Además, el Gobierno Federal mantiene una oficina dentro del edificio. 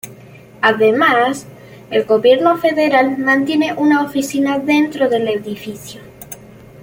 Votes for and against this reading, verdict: 2, 0, accepted